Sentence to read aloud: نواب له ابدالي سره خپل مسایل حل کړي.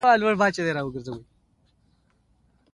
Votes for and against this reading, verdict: 1, 2, rejected